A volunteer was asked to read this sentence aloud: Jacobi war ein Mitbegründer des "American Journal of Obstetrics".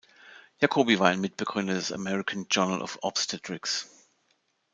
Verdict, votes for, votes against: accepted, 2, 0